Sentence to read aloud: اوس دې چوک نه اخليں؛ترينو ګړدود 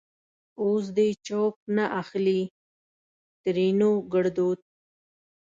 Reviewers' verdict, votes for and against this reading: rejected, 0, 2